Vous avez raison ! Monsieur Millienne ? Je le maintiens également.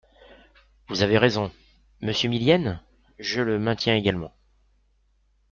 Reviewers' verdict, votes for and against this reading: accepted, 2, 0